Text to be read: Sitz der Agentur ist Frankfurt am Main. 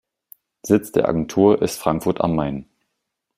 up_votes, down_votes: 2, 0